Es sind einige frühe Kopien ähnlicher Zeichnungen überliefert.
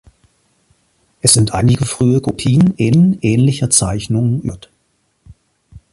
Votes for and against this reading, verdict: 0, 2, rejected